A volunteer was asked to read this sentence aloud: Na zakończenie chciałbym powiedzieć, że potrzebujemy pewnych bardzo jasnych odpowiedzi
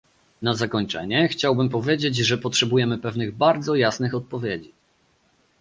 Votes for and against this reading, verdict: 2, 0, accepted